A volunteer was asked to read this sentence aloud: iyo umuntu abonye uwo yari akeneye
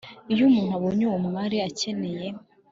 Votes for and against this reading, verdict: 2, 0, accepted